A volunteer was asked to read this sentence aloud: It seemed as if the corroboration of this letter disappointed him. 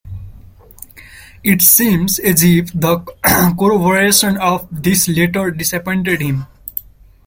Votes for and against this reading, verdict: 0, 2, rejected